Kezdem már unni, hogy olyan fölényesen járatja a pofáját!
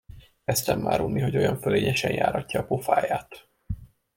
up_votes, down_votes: 0, 2